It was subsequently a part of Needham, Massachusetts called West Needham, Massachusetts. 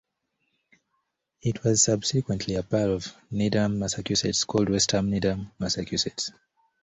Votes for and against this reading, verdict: 1, 2, rejected